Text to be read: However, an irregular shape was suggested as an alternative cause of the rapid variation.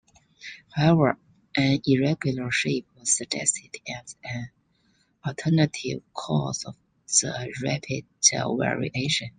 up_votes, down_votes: 1, 2